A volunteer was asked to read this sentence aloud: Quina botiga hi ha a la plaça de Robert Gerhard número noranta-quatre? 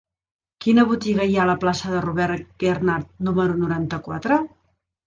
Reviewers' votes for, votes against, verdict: 0, 2, rejected